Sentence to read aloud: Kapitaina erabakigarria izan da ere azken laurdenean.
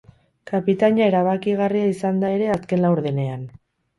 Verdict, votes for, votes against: accepted, 2, 0